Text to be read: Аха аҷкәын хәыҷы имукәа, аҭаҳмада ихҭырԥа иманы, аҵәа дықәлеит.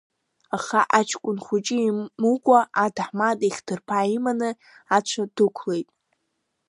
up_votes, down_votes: 0, 2